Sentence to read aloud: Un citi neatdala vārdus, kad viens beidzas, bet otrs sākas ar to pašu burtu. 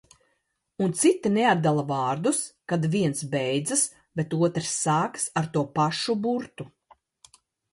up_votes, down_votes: 2, 0